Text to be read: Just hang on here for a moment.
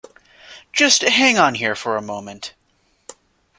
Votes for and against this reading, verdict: 2, 0, accepted